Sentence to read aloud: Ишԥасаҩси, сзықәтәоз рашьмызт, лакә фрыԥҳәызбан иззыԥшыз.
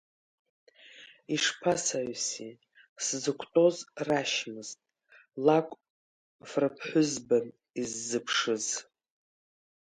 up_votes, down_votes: 0, 2